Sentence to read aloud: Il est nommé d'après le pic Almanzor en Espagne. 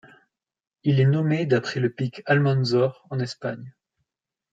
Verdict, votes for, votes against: accepted, 2, 0